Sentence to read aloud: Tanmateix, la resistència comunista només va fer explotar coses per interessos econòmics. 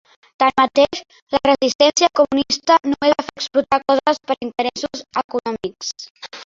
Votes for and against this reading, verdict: 1, 2, rejected